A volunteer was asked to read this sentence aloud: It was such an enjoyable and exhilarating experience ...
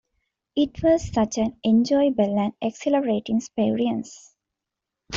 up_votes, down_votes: 2, 0